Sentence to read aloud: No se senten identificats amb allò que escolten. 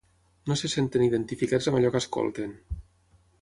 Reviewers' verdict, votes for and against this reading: accepted, 6, 0